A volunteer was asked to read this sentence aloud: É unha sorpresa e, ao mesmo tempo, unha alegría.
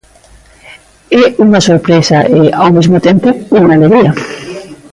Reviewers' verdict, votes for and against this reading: accepted, 2, 0